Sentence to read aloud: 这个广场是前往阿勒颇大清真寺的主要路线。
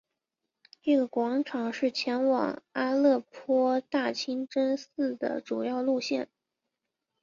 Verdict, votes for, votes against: accepted, 2, 0